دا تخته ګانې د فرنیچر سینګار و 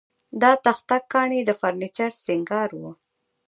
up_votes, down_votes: 1, 2